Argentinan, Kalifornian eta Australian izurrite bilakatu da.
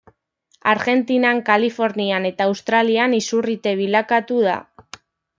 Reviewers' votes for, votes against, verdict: 2, 0, accepted